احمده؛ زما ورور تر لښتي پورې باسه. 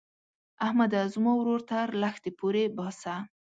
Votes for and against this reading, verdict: 2, 0, accepted